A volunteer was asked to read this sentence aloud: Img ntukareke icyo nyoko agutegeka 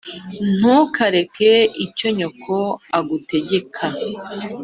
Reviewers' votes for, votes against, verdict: 2, 0, accepted